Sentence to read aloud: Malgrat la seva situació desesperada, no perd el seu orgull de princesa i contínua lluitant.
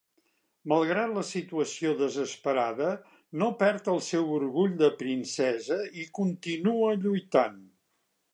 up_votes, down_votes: 1, 2